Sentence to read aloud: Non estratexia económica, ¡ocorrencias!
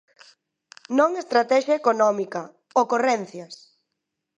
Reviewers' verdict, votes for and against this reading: accepted, 2, 0